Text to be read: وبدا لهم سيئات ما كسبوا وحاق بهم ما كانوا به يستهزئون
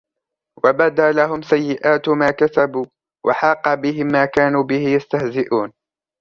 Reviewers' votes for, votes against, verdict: 1, 2, rejected